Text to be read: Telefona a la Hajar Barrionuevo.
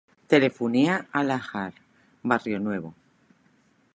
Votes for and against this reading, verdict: 1, 2, rejected